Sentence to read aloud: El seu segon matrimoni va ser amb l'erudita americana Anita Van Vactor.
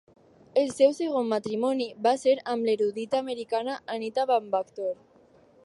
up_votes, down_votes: 4, 0